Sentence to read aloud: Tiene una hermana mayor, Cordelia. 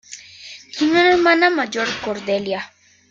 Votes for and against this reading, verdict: 2, 0, accepted